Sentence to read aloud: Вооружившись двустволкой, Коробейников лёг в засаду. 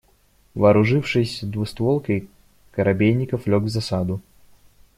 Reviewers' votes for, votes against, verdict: 2, 0, accepted